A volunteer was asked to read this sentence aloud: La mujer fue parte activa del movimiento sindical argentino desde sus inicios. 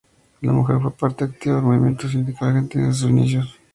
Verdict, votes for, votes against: rejected, 2, 2